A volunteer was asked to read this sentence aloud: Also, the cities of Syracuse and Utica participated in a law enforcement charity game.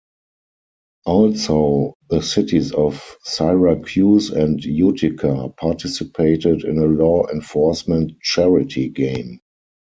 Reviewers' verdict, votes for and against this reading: rejected, 0, 4